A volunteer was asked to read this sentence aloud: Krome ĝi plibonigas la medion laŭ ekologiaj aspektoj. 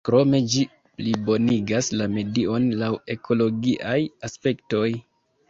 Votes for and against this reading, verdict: 2, 0, accepted